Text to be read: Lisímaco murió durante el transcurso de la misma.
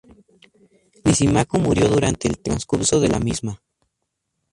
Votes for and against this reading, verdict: 2, 0, accepted